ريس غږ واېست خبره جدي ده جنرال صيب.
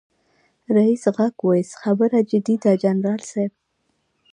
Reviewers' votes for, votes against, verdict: 2, 1, accepted